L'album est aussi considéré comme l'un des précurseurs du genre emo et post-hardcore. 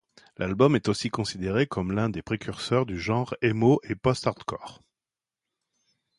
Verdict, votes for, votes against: accepted, 2, 0